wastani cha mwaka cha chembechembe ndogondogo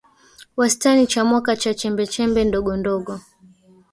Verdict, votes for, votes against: rejected, 1, 2